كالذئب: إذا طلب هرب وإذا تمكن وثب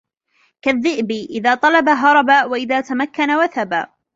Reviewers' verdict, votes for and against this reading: rejected, 1, 2